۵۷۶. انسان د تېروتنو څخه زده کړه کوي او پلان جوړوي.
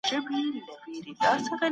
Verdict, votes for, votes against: rejected, 0, 2